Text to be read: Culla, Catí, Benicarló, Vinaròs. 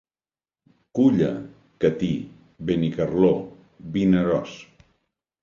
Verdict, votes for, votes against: accepted, 2, 0